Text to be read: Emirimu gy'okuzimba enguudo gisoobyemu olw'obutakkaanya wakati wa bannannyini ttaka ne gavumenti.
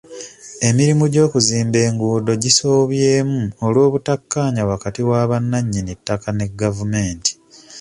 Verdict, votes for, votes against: accepted, 2, 0